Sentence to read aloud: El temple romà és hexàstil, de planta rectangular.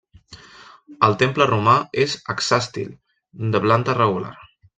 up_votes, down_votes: 0, 2